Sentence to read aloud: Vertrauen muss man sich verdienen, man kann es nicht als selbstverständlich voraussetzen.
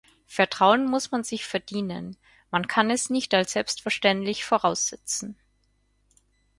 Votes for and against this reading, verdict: 4, 0, accepted